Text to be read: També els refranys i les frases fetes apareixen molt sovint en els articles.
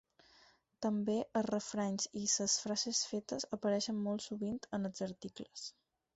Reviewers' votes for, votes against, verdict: 6, 4, accepted